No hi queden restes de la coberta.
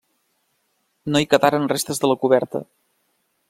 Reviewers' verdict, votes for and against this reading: rejected, 0, 2